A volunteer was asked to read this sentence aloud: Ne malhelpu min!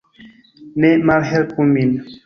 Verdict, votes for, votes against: rejected, 0, 2